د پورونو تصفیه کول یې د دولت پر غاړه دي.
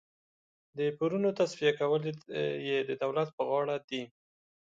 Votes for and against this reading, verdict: 1, 2, rejected